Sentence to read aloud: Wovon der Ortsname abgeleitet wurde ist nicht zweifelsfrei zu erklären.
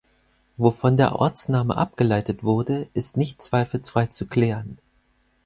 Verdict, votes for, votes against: rejected, 0, 4